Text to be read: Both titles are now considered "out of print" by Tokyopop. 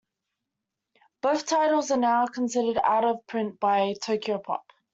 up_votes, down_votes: 2, 1